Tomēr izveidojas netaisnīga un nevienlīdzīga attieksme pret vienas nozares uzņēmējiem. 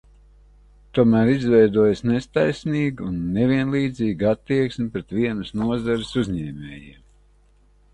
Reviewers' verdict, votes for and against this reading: rejected, 0, 2